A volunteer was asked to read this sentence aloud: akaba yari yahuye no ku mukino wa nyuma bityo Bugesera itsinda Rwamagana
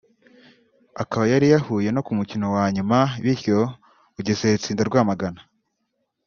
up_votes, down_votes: 2, 0